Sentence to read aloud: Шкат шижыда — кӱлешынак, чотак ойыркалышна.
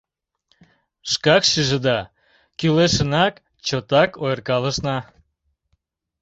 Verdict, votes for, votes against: rejected, 0, 2